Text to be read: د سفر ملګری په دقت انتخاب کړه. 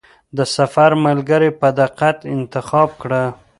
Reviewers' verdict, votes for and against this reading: rejected, 0, 2